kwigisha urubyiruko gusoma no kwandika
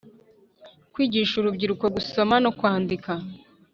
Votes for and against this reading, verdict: 3, 0, accepted